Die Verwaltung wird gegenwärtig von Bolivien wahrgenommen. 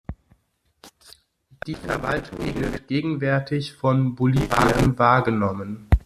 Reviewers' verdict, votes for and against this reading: accepted, 2, 1